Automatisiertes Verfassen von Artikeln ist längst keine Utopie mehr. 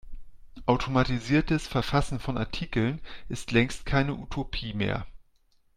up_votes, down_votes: 2, 0